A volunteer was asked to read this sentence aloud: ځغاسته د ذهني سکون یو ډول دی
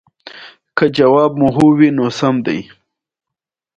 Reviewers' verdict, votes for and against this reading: accepted, 2, 0